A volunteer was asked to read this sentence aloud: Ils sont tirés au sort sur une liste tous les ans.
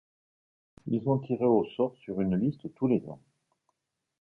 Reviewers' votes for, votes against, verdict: 2, 0, accepted